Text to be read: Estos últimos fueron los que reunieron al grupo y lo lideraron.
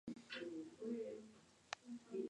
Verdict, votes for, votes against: rejected, 0, 2